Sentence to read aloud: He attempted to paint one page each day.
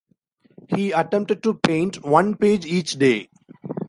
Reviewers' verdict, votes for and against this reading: accepted, 2, 0